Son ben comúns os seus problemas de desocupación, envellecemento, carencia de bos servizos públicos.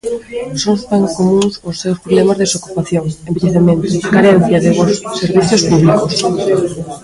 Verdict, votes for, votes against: rejected, 0, 2